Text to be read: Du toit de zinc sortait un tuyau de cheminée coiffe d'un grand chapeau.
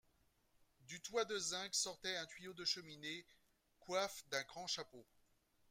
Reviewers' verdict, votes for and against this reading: rejected, 1, 2